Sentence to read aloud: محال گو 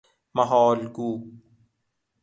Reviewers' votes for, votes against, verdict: 2, 0, accepted